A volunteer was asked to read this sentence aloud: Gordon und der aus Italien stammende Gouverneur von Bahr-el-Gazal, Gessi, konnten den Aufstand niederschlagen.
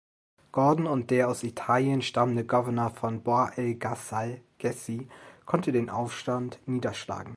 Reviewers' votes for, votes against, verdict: 2, 1, accepted